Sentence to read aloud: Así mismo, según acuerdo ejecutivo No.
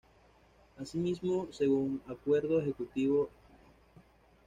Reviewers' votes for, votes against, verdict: 2, 1, accepted